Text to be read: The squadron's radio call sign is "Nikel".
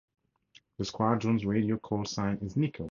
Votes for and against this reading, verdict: 6, 0, accepted